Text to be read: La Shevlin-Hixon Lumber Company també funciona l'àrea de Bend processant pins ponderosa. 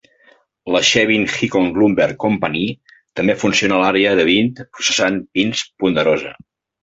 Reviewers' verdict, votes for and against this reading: rejected, 0, 2